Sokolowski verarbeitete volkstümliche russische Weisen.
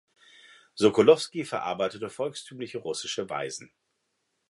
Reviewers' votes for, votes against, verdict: 2, 0, accepted